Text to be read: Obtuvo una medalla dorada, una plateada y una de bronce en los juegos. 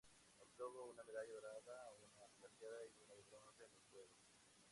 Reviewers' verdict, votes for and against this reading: rejected, 0, 4